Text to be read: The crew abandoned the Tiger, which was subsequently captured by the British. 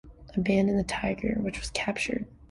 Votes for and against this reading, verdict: 0, 2, rejected